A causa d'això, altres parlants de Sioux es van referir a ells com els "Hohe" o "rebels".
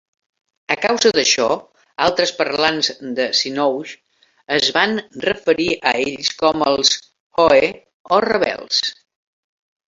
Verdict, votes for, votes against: rejected, 0, 2